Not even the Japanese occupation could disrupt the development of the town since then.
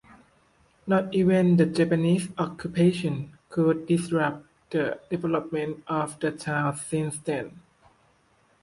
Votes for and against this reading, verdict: 2, 0, accepted